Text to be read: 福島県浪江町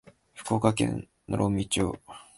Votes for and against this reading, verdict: 0, 2, rejected